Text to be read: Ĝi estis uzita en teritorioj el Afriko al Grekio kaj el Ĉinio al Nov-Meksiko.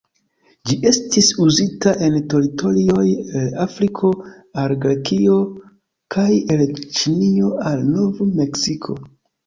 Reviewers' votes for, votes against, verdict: 2, 1, accepted